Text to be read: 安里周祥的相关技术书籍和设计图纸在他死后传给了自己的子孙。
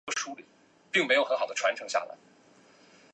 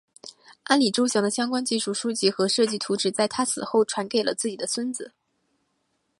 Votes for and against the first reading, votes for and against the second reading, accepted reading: 0, 2, 2, 0, second